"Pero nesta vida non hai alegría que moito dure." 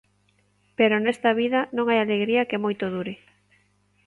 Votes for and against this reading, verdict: 2, 0, accepted